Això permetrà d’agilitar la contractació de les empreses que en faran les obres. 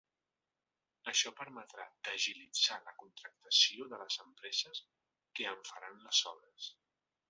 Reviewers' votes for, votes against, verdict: 1, 2, rejected